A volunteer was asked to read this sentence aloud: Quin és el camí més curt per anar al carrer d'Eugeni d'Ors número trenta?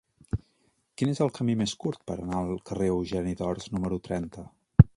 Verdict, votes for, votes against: rejected, 1, 2